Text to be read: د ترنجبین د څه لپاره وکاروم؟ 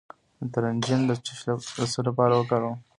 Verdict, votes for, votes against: rejected, 1, 2